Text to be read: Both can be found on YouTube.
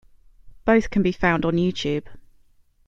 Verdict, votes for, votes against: accepted, 2, 0